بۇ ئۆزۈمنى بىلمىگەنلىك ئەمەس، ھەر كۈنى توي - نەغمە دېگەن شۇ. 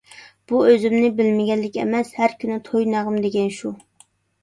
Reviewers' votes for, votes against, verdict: 2, 0, accepted